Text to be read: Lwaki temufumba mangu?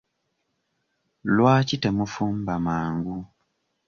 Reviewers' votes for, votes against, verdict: 2, 0, accepted